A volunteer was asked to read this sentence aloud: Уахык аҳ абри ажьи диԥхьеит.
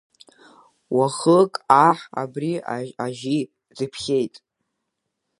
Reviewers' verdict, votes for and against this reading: rejected, 2, 4